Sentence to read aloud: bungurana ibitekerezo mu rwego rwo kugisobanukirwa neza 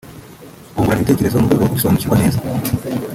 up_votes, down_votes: 1, 2